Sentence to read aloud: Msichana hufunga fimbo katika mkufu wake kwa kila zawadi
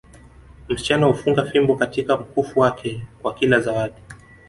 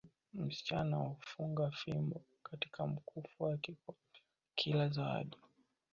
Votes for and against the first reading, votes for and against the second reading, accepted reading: 2, 1, 0, 2, first